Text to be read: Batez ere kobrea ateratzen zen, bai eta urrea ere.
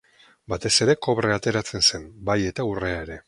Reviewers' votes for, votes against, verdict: 2, 0, accepted